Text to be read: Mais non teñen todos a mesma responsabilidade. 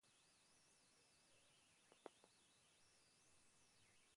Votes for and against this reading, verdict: 0, 4, rejected